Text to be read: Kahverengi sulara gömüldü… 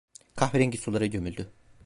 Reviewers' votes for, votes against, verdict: 1, 2, rejected